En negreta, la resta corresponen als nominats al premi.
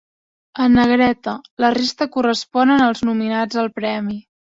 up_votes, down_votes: 3, 0